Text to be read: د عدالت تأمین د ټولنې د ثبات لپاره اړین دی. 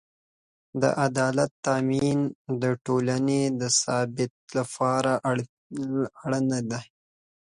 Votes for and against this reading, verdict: 0, 2, rejected